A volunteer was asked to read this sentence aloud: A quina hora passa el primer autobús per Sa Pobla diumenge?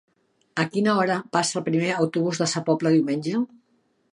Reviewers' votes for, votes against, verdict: 1, 2, rejected